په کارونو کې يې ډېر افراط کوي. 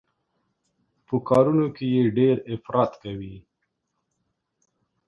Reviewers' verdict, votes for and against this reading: accepted, 2, 0